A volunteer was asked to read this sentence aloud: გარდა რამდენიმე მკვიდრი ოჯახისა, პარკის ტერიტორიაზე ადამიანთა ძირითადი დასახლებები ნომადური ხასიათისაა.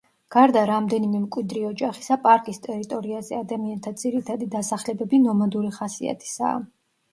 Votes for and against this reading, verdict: 2, 0, accepted